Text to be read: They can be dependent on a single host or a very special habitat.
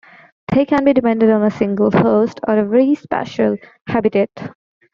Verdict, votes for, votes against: rejected, 1, 2